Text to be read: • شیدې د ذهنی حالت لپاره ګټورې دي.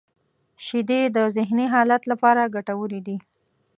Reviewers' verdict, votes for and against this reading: accepted, 2, 0